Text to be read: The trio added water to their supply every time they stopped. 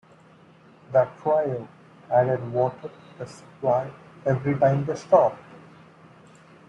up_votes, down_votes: 2, 3